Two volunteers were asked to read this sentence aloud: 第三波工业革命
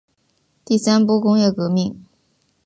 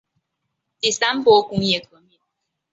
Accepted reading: first